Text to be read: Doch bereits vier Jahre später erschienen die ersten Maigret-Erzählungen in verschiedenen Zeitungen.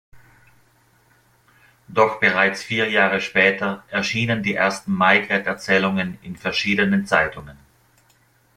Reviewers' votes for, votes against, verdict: 2, 0, accepted